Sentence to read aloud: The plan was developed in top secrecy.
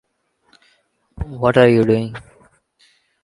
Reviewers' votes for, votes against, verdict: 0, 2, rejected